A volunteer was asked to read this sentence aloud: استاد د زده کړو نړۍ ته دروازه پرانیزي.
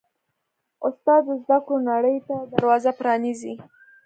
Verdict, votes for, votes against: accepted, 2, 0